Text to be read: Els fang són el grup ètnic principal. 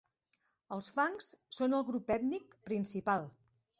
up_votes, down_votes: 0, 3